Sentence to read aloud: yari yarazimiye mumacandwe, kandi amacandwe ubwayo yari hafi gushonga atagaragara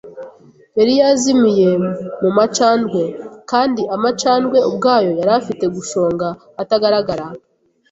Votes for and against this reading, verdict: 1, 2, rejected